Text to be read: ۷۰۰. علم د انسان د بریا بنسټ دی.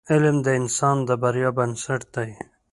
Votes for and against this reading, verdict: 0, 2, rejected